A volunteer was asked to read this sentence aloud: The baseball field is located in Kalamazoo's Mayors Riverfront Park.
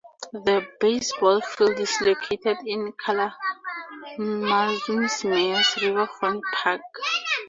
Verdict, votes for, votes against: accepted, 2, 0